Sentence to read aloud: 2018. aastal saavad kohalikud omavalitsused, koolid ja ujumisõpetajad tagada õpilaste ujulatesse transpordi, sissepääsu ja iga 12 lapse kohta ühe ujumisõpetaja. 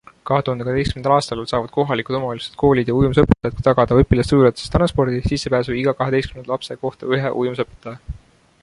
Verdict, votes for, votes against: rejected, 0, 2